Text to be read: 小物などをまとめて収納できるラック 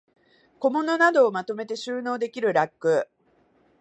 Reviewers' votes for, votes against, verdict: 2, 0, accepted